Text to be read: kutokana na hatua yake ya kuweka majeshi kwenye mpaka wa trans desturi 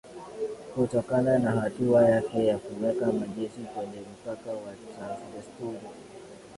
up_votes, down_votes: 5, 7